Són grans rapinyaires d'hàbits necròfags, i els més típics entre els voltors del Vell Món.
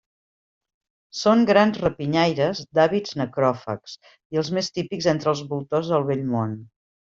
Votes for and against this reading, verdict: 2, 0, accepted